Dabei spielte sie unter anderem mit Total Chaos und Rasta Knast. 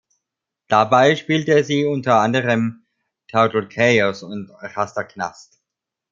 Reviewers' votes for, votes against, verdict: 1, 2, rejected